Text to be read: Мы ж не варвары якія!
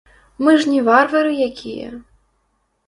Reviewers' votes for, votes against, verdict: 1, 2, rejected